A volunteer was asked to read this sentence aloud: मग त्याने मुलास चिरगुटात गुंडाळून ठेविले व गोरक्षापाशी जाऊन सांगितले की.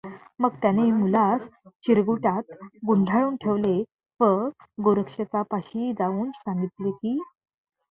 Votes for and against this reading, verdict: 1, 2, rejected